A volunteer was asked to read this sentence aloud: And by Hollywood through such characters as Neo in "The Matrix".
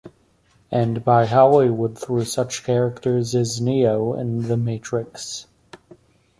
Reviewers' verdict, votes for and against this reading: accepted, 2, 0